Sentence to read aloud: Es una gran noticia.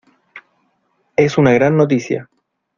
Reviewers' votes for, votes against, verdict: 2, 0, accepted